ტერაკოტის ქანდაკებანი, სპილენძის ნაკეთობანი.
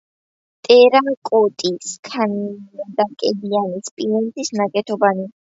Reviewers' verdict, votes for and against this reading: rejected, 0, 2